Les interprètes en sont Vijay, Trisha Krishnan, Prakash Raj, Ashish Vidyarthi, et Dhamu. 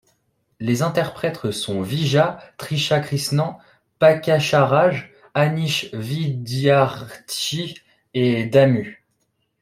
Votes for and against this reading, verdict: 0, 2, rejected